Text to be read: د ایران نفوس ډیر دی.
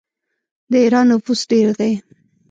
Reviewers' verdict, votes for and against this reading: rejected, 0, 2